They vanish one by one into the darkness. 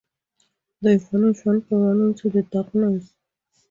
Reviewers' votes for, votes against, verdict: 0, 2, rejected